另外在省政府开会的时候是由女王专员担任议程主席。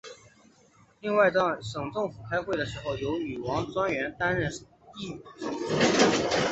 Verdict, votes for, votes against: rejected, 0, 2